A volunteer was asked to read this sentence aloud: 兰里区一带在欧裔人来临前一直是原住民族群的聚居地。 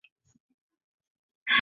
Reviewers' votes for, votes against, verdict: 0, 3, rejected